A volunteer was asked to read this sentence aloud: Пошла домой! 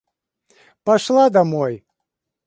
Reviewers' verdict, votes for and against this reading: accepted, 2, 0